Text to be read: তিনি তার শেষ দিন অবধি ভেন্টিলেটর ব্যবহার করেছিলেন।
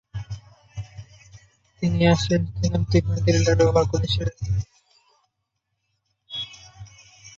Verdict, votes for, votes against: rejected, 1, 9